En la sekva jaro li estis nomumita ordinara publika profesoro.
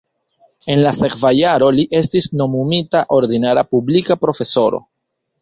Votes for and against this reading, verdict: 2, 1, accepted